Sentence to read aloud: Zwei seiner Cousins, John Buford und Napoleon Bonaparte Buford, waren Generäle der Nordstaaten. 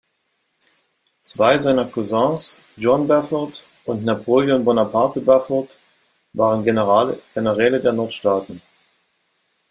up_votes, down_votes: 0, 2